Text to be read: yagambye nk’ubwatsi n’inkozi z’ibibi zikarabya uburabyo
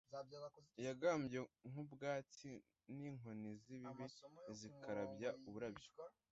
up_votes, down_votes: 1, 2